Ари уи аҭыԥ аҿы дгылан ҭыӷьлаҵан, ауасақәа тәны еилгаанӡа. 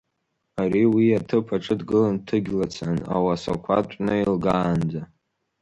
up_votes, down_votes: 1, 2